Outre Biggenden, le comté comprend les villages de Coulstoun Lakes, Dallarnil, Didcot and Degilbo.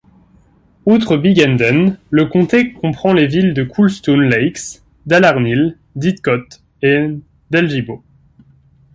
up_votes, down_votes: 0, 2